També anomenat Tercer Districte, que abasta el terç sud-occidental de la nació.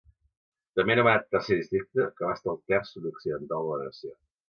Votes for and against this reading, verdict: 2, 3, rejected